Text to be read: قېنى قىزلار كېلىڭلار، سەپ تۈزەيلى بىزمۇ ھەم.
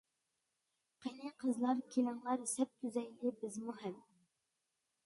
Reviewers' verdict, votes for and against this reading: accepted, 2, 0